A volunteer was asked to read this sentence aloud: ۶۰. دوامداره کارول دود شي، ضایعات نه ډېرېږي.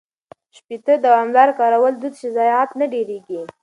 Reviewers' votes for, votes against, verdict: 0, 2, rejected